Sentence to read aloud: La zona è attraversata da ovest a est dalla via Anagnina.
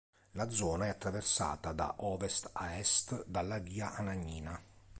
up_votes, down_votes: 2, 0